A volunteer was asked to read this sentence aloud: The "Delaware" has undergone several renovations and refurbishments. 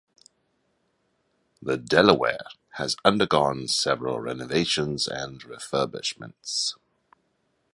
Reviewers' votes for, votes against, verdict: 3, 0, accepted